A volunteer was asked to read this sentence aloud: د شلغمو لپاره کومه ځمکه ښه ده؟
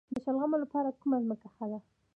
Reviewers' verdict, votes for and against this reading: accepted, 2, 1